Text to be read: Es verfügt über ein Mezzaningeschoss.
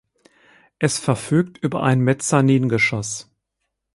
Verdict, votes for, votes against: accepted, 4, 0